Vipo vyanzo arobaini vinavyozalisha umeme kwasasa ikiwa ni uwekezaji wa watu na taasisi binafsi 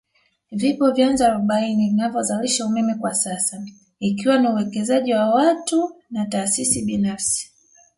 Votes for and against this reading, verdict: 2, 0, accepted